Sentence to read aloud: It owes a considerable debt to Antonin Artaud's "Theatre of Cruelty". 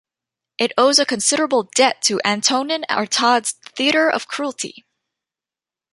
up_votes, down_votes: 2, 1